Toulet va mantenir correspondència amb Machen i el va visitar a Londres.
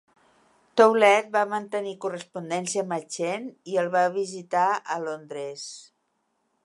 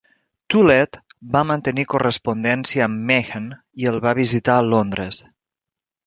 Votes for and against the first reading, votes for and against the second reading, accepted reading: 2, 0, 1, 2, first